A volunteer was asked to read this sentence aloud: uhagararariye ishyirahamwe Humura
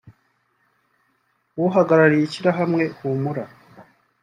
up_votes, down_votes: 2, 0